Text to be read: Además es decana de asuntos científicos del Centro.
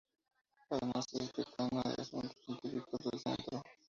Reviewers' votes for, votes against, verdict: 2, 2, rejected